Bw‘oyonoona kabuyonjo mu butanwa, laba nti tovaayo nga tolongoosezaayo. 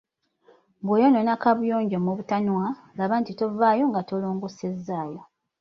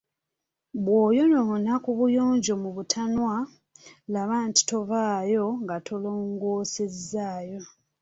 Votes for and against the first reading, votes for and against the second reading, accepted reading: 2, 0, 1, 2, first